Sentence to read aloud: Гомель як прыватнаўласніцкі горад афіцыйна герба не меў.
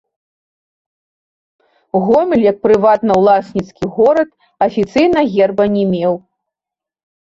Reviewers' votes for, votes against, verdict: 1, 2, rejected